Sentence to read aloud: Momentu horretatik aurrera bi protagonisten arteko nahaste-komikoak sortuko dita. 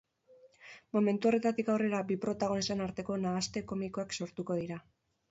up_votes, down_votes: 0, 2